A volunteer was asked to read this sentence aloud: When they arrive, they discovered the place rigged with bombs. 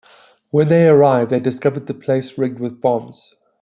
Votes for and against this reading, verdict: 2, 0, accepted